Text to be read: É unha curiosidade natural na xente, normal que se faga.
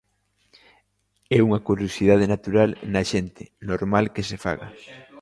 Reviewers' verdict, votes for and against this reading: rejected, 1, 2